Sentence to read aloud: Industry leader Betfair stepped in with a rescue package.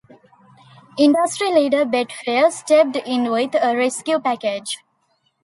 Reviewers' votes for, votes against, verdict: 2, 0, accepted